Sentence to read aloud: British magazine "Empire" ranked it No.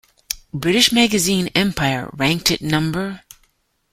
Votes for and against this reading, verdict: 1, 2, rejected